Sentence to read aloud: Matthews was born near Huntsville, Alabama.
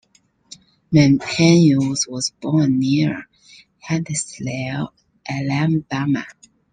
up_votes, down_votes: 0, 2